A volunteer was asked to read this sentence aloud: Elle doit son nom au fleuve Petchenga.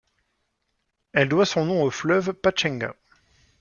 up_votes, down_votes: 1, 2